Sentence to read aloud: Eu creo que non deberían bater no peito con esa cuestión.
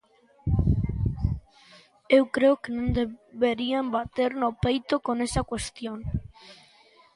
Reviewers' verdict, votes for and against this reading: rejected, 1, 2